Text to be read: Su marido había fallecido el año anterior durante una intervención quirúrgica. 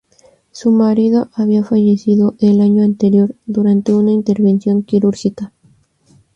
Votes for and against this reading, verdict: 2, 0, accepted